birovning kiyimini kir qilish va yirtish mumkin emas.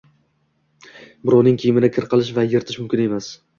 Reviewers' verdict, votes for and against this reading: accepted, 2, 0